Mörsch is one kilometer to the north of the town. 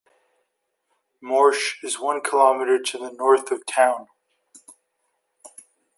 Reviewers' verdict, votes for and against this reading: rejected, 0, 2